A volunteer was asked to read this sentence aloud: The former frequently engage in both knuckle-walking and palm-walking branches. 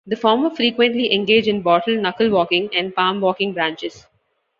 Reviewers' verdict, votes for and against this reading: rejected, 0, 2